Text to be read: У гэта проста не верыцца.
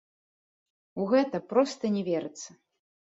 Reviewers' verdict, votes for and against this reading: rejected, 1, 2